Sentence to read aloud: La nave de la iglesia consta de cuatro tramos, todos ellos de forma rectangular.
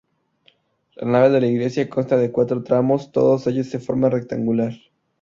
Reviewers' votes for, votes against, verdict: 2, 0, accepted